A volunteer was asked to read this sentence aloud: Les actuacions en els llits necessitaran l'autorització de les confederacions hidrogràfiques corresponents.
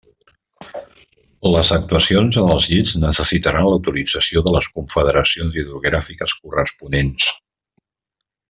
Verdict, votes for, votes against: accepted, 3, 0